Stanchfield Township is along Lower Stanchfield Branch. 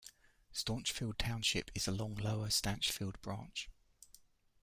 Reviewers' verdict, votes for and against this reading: rejected, 1, 2